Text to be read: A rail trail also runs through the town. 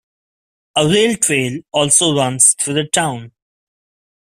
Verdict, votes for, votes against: rejected, 0, 2